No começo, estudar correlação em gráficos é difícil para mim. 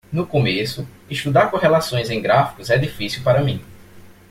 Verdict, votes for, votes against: rejected, 0, 2